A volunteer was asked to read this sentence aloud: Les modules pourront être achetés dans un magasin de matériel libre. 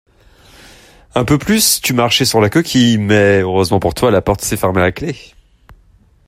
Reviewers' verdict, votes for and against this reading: rejected, 0, 2